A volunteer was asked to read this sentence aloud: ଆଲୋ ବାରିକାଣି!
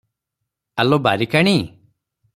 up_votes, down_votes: 3, 0